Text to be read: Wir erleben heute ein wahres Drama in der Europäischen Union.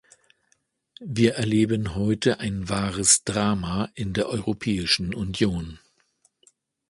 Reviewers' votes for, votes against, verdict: 2, 0, accepted